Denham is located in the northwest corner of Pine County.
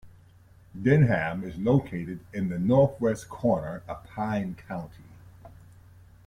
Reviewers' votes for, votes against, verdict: 2, 0, accepted